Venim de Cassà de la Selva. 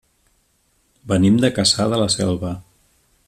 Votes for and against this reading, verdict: 2, 0, accepted